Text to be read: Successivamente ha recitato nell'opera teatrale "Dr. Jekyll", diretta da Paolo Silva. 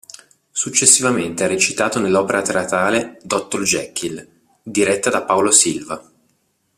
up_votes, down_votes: 1, 2